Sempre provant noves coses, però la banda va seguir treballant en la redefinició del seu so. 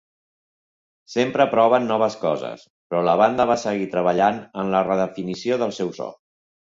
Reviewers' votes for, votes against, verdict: 0, 2, rejected